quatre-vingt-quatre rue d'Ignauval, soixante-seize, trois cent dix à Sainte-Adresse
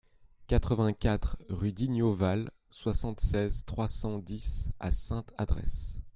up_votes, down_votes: 2, 0